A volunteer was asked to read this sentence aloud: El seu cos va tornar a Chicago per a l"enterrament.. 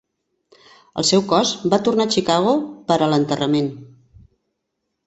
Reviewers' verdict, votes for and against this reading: accepted, 2, 0